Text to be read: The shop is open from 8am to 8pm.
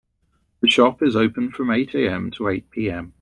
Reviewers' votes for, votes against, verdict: 0, 2, rejected